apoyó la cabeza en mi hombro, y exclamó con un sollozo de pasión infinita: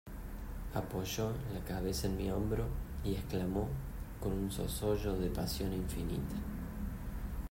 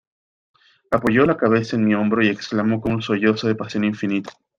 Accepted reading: second